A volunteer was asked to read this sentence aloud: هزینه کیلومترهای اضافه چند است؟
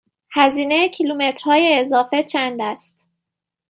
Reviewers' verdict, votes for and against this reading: accepted, 2, 1